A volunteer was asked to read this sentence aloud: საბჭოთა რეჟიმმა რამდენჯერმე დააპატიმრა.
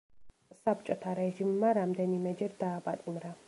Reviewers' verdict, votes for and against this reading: rejected, 1, 2